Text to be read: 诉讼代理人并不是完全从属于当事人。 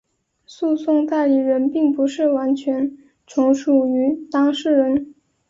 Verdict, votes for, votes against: accepted, 4, 0